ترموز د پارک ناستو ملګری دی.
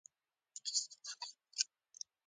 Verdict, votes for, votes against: rejected, 1, 2